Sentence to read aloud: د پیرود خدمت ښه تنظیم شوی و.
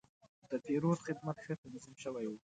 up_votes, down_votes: 1, 2